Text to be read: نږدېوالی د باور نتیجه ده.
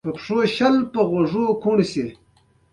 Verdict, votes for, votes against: accepted, 2, 1